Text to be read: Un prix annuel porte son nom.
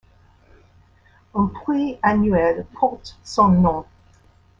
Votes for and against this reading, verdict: 0, 2, rejected